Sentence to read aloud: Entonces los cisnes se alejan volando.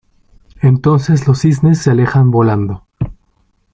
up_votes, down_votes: 2, 0